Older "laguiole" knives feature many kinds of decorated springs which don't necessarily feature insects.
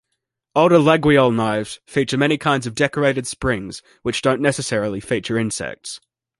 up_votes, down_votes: 2, 0